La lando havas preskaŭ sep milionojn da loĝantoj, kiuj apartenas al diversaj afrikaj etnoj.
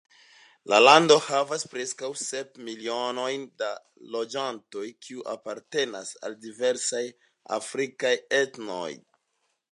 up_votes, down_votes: 2, 0